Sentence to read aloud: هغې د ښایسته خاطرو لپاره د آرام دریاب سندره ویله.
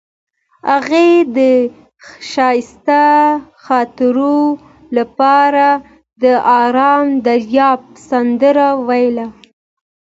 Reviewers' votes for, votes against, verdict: 2, 0, accepted